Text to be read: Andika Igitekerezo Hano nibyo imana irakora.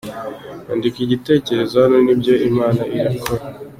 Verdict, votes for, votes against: accepted, 2, 0